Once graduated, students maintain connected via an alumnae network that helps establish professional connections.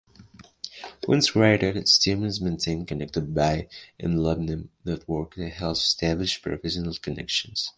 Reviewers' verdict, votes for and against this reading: rejected, 1, 2